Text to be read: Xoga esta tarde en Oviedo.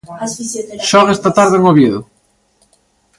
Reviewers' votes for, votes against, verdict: 0, 2, rejected